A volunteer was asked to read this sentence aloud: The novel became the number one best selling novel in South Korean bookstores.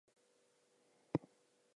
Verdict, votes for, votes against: rejected, 0, 4